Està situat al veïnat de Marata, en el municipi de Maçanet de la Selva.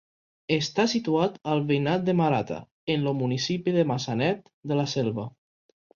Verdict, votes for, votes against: rejected, 1, 2